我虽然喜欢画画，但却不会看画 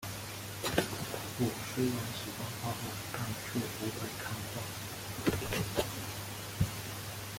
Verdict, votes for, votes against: rejected, 0, 2